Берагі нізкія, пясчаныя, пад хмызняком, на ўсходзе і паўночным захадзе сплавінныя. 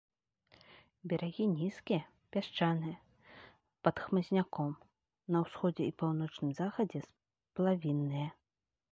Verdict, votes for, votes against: accepted, 2, 0